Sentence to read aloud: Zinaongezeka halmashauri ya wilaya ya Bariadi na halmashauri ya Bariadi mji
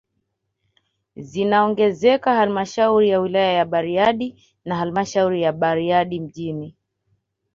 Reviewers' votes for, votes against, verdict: 2, 0, accepted